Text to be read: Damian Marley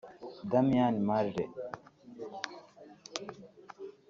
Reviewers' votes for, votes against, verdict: 1, 2, rejected